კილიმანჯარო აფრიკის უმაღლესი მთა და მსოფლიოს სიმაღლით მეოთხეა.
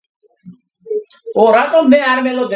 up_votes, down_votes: 0, 2